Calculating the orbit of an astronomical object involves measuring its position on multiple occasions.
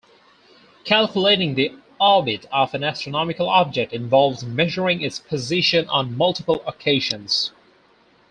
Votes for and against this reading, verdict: 2, 0, accepted